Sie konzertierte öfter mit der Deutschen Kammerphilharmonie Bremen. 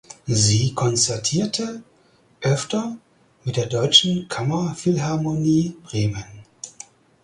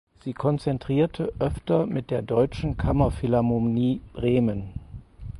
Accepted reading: first